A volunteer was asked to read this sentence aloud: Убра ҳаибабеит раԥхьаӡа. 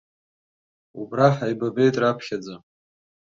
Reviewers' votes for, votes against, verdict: 2, 0, accepted